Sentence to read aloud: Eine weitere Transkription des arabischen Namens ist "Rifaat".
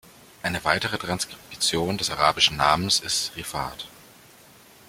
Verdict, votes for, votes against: rejected, 1, 2